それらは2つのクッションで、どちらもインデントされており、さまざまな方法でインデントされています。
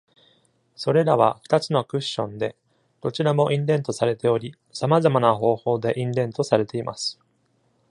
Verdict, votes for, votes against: rejected, 0, 2